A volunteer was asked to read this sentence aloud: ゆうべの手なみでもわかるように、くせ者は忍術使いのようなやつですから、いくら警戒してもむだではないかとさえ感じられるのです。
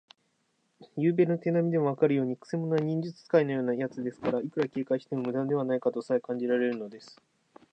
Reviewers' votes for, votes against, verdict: 2, 0, accepted